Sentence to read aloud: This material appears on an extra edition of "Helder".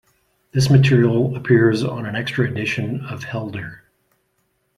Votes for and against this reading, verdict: 2, 1, accepted